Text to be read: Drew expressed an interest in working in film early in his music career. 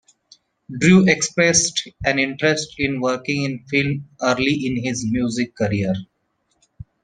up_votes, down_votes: 2, 0